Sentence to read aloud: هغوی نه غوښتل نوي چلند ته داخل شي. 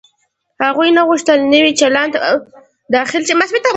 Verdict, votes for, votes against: rejected, 1, 2